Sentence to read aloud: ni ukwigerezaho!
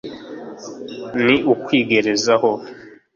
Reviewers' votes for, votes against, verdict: 2, 0, accepted